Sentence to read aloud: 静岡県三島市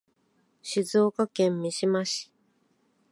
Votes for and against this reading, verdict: 2, 0, accepted